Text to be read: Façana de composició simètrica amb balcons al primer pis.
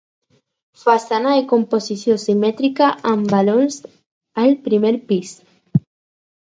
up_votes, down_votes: 4, 0